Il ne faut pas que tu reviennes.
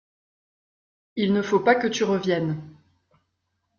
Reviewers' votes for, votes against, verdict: 2, 0, accepted